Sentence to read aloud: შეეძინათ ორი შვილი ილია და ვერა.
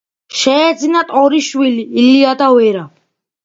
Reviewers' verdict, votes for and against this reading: accepted, 2, 1